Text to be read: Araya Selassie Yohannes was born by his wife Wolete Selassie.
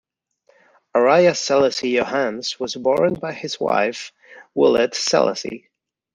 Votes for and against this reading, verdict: 2, 0, accepted